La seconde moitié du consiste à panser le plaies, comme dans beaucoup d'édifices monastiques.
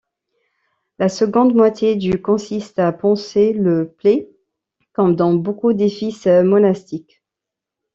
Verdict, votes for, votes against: rejected, 0, 2